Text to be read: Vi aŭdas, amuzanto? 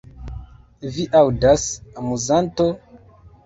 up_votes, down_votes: 2, 0